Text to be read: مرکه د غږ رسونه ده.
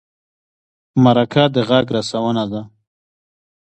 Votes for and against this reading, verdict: 2, 1, accepted